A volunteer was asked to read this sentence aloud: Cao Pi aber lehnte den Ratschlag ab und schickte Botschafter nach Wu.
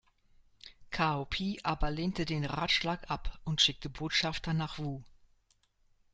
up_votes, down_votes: 1, 2